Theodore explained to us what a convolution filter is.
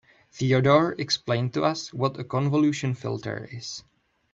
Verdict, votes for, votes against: accepted, 2, 0